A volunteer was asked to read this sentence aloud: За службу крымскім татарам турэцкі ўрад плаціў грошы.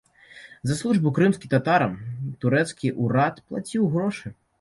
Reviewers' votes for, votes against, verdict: 2, 0, accepted